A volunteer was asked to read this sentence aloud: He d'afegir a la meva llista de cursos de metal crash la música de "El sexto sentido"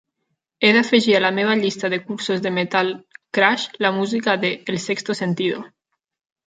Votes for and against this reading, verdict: 0, 2, rejected